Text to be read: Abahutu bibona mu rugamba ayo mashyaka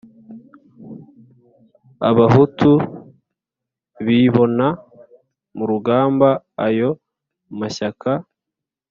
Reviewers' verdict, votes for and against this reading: accepted, 2, 0